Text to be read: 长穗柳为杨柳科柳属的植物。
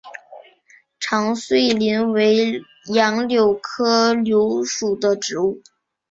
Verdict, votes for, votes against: rejected, 0, 2